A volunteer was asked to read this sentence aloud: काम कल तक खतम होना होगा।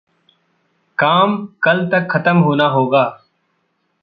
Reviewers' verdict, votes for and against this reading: accepted, 2, 0